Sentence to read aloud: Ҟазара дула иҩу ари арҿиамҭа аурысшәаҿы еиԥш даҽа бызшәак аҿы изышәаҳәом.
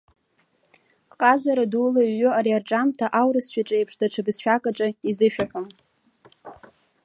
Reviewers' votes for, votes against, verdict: 2, 0, accepted